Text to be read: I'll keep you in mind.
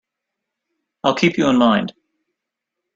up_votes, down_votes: 4, 1